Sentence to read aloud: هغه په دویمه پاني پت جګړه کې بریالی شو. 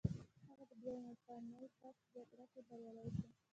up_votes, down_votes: 0, 2